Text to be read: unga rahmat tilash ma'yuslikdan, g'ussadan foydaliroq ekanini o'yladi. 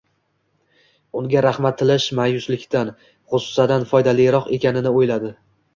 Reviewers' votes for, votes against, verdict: 0, 2, rejected